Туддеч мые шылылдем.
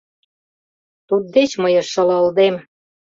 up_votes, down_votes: 1, 2